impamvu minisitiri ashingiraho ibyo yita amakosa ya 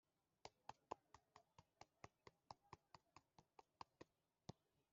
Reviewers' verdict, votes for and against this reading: rejected, 0, 2